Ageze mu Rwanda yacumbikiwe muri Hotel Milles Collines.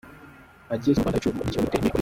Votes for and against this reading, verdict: 0, 2, rejected